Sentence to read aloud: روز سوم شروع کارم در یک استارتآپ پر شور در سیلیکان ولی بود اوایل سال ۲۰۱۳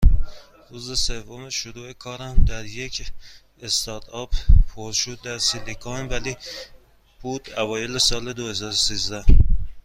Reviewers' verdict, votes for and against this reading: rejected, 0, 2